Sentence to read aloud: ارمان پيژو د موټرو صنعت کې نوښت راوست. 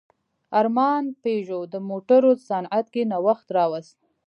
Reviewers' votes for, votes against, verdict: 2, 0, accepted